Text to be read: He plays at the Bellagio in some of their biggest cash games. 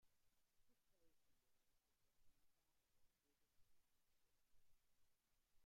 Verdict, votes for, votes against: rejected, 0, 2